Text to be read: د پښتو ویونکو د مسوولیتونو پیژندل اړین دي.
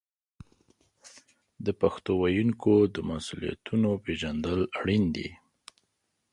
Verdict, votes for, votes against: accepted, 2, 0